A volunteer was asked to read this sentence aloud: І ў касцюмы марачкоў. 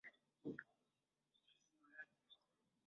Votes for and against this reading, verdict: 0, 2, rejected